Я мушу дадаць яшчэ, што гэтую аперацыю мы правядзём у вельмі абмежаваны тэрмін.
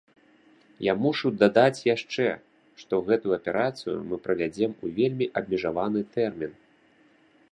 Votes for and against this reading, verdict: 1, 2, rejected